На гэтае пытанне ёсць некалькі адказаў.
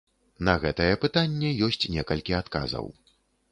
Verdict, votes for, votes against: accepted, 3, 0